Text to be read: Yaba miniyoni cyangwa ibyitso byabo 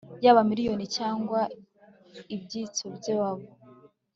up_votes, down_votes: 3, 0